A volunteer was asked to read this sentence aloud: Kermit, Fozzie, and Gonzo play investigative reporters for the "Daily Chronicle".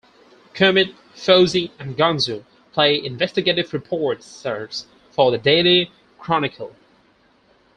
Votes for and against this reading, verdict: 2, 4, rejected